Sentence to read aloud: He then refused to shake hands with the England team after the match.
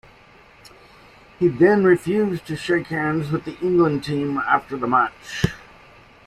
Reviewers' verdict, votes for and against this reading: accepted, 2, 0